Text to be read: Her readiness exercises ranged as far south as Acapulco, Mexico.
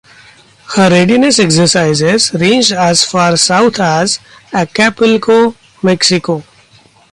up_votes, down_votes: 2, 0